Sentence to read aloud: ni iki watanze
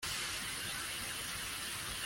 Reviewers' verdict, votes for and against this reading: rejected, 0, 2